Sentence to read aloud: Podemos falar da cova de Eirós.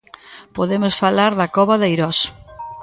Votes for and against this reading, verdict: 2, 0, accepted